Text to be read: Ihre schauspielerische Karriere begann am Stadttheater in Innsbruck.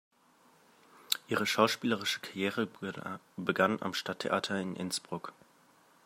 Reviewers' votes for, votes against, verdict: 1, 2, rejected